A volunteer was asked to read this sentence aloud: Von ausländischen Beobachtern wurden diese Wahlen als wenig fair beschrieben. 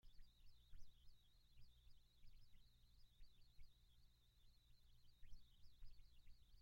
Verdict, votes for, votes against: rejected, 0, 2